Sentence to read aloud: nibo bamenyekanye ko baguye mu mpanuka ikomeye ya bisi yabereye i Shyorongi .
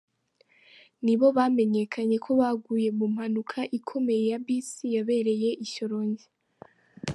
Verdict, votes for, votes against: accepted, 2, 1